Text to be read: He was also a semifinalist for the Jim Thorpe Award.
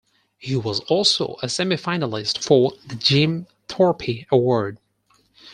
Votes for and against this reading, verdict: 2, 4, rejected